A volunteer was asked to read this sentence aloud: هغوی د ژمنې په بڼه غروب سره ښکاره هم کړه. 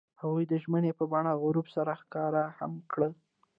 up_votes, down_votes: 0, 2